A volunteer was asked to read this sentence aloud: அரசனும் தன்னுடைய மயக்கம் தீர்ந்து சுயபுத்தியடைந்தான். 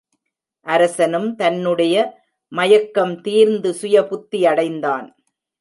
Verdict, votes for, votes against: accepted, 2, 0